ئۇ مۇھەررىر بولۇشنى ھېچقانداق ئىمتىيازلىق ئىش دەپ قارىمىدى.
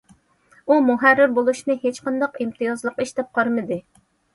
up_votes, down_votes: 2, 0